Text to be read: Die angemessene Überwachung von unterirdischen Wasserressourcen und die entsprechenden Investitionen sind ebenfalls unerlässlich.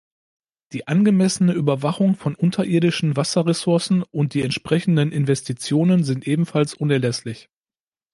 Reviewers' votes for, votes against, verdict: 2, 0, accepted